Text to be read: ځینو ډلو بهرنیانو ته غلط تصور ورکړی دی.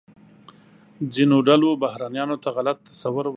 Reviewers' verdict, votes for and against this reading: rejected, 1, 2